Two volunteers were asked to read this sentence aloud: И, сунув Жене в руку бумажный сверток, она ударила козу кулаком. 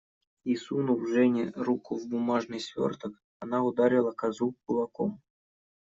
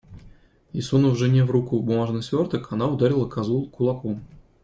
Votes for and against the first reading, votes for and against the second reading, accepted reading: 1, 2, 2, 1, second